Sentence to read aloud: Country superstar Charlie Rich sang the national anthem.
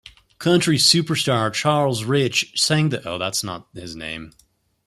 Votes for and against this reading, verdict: 0, 2, rejected